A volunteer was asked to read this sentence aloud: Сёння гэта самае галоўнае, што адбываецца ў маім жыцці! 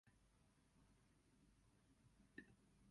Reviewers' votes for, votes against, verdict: 0, 2, rejected